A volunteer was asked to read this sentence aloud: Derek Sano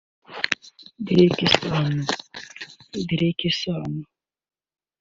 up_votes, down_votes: 0, 2